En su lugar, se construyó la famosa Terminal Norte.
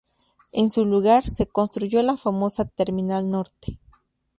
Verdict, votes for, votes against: rejected, 0, 2